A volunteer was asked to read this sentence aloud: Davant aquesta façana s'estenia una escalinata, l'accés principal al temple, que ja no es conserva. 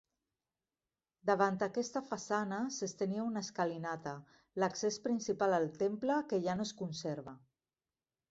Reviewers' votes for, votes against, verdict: 0, 2, rejected